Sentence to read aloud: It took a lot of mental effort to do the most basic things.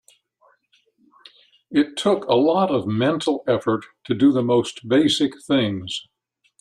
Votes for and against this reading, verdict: 2, 0, accepted